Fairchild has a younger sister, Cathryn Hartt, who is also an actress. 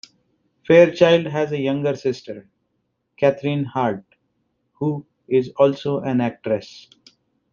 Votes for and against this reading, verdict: 2, 0, accepted